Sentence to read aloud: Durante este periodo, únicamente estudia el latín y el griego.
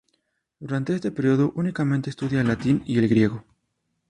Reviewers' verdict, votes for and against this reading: accepted, 2, 0